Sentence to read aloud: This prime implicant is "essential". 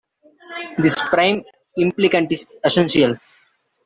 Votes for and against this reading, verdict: 2, 0, accepted